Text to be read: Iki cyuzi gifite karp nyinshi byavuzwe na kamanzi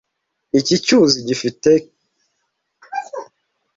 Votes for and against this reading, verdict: 0, 2, rejected